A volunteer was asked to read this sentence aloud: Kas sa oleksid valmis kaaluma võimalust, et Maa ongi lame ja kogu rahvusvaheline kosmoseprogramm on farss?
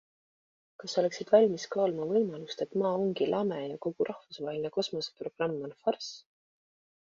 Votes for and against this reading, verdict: 2, 0, accepted